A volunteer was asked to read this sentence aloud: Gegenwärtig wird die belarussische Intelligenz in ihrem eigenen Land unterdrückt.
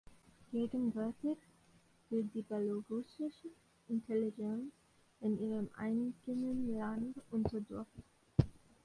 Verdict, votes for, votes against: rejected, 1, 2